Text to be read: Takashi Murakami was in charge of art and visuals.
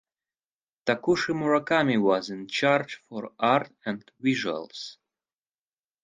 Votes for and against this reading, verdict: 0, 4, rejected